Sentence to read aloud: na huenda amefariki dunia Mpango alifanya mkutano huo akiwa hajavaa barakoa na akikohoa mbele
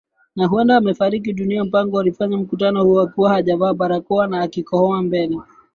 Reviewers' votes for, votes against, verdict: 2, 0, accepted